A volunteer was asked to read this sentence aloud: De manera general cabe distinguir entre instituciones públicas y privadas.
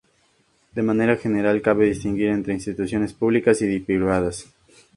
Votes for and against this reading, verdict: 4, 0, accepted